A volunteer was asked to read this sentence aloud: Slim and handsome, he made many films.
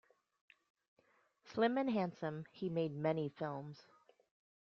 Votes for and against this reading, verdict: 2, 0, accepted